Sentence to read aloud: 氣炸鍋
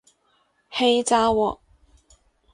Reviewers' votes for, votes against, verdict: 2, 2, rejected